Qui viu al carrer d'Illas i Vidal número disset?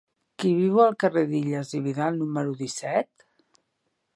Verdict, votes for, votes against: accepted, 2, 0